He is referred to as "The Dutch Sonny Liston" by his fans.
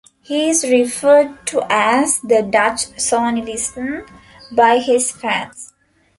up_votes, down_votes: 2, 1